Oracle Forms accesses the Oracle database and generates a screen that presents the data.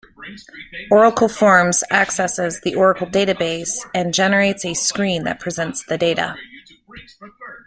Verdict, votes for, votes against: accepted, 2, 0